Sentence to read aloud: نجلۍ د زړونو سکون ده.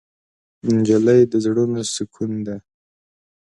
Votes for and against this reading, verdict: 3, 0, accepted